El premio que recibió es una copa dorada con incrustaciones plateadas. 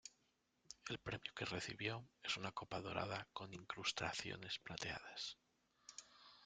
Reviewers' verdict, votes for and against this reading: rejected, 0, 2